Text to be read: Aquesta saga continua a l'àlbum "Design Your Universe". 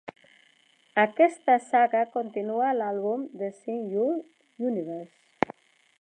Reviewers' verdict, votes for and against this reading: rejected, 1, 2